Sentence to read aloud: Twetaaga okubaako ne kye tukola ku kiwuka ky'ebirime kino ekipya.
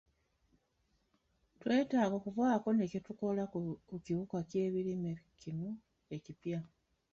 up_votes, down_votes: 1, 3